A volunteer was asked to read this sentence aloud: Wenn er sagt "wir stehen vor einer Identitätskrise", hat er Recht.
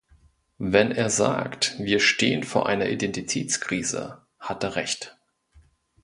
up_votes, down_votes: 2, 0